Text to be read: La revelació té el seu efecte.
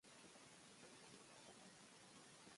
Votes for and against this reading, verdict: 0, 2, rejected